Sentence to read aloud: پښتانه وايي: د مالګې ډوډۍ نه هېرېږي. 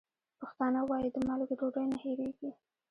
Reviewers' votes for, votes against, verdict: 1, 2, rejected